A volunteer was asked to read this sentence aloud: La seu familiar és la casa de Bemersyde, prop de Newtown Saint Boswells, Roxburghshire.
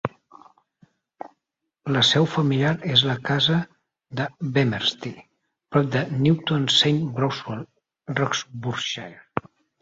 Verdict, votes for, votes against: rejected, 2, 4